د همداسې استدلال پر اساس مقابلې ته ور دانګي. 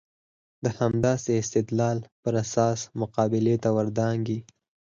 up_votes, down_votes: 4, 0